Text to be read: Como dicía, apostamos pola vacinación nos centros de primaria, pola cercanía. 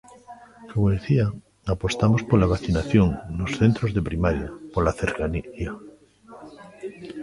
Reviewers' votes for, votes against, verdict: 0, 2, rejected